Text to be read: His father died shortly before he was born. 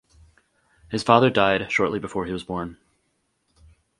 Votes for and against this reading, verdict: 4, 0, accepted